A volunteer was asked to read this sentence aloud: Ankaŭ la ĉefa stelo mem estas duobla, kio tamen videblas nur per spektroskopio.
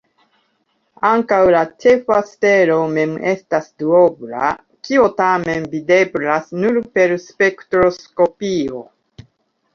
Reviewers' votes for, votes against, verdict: 2, 1, accepted